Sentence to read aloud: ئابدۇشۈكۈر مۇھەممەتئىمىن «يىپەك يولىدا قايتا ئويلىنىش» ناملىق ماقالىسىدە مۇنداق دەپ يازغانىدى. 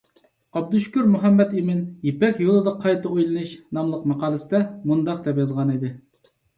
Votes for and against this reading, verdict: 2, 0, accepted